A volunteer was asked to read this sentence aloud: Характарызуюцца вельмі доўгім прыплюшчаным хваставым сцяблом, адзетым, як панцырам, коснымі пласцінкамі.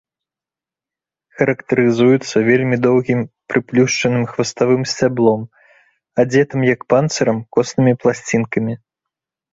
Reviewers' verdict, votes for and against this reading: accepted, 3, 1